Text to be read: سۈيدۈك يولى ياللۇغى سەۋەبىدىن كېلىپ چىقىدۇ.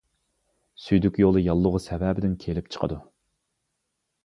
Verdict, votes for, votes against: accepted, 2, 0